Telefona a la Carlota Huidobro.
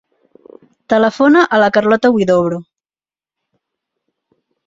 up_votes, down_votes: 3, 0